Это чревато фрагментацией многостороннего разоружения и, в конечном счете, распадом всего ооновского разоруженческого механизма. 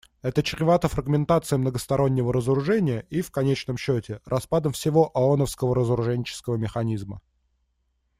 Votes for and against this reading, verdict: 2, 0, accepted